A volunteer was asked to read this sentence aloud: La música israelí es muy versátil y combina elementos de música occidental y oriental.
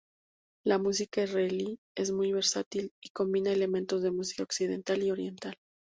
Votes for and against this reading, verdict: 2, 0, accepted